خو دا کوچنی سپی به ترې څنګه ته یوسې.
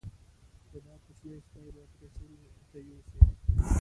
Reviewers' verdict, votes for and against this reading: rejected, 1, 2